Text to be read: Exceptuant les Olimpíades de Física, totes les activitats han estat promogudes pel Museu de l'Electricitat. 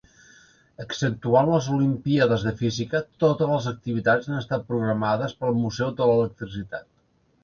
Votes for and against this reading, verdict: 2, 3, rejected